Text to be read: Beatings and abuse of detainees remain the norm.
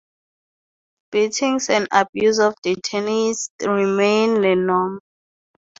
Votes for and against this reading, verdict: 0, 2, rejected